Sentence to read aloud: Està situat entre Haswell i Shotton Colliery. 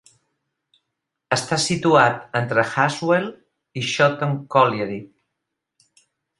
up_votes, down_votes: 2, 0